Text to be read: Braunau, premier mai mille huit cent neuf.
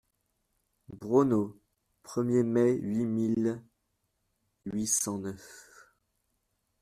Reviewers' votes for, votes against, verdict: 0, 2, rejected